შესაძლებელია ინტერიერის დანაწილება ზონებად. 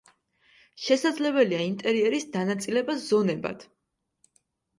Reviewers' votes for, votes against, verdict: 3, 0, accepted